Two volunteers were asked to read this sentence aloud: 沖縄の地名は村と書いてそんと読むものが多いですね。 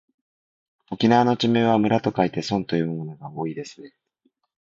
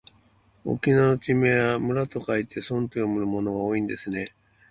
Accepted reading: first